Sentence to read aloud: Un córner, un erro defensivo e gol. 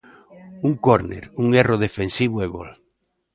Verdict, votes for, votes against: accepted, 2, 0